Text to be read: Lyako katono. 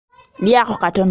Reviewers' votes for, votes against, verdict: 1, 2, rejected